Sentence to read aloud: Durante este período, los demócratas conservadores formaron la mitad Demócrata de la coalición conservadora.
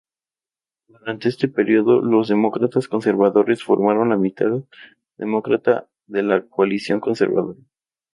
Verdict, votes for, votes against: rejected, 2, 2